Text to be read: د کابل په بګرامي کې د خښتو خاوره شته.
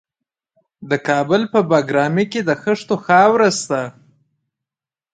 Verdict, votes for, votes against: accepted, 2, 1